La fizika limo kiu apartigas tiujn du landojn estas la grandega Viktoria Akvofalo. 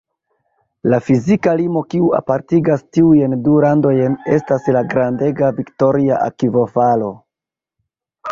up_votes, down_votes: 1, 2